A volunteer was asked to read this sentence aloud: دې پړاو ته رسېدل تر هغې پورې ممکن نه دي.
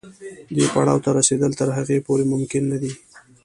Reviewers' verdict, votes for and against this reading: rejected, 1, 2